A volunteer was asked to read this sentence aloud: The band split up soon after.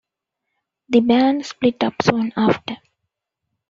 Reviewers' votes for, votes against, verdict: 2, 0, accepted